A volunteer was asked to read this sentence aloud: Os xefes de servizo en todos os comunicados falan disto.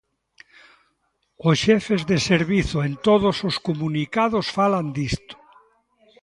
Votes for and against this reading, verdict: 1, 2, rejected